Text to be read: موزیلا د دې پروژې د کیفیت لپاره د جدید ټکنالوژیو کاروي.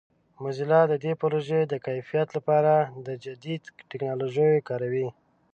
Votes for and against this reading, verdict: 1, 2, rejected